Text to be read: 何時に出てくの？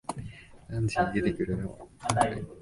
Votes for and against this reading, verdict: 1, 2, rejected